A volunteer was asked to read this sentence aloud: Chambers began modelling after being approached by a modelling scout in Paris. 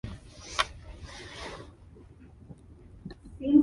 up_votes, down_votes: 0, 2